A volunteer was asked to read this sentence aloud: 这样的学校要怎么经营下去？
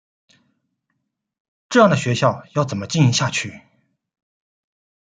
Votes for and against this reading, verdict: 2, 0, accepted